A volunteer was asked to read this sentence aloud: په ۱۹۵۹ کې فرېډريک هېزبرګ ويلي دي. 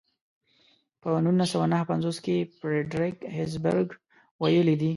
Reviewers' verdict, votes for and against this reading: rejected, 0, 2